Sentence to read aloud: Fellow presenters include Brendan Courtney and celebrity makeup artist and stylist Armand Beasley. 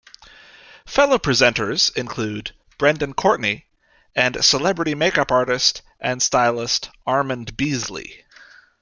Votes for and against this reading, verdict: 2, 0, accepted